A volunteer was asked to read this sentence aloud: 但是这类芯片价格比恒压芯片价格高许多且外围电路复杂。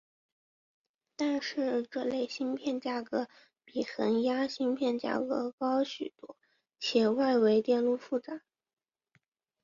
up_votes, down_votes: 2, 0